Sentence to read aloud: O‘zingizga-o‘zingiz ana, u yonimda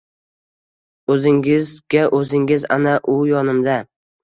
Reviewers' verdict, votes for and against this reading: accepted, 2, 0